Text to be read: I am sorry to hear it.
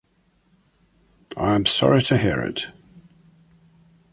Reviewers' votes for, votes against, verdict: 2, 0, accepted